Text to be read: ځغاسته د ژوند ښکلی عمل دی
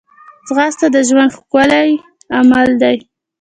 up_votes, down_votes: 2, 1